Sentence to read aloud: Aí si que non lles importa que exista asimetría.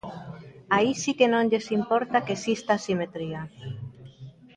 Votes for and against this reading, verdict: 3, 0, accepted